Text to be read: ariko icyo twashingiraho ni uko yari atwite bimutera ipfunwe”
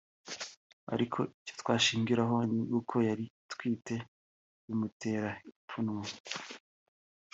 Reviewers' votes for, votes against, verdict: 0, 2, rejected